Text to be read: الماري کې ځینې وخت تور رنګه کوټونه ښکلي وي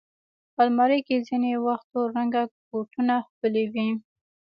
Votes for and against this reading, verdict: 0, 2, rejected